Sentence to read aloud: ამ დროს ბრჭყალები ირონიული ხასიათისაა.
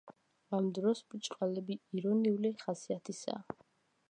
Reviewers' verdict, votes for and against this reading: accepted, 2, 1